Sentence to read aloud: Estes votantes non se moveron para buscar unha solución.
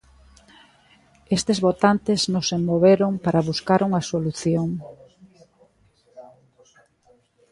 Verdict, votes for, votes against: accepted, 2, 0